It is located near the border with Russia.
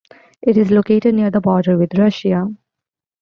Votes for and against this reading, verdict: 2, 0, accepted